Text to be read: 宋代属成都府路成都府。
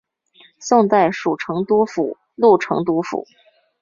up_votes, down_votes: 2, 1